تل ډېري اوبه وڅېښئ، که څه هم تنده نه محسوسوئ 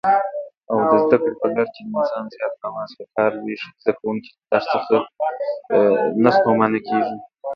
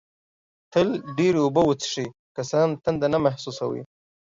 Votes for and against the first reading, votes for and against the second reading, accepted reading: 0, 2, 2, 0, second